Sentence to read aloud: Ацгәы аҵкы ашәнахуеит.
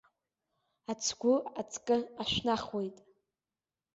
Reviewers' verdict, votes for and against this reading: accepted, 2, 0